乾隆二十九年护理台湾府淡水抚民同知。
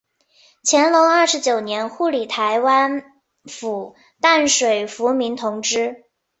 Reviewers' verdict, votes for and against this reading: rejected, 1, 2